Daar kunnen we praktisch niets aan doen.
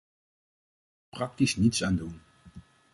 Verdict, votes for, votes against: rejected, 0, 2